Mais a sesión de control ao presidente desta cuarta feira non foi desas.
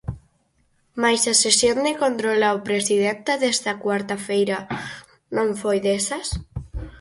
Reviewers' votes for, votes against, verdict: 4, 2, accepted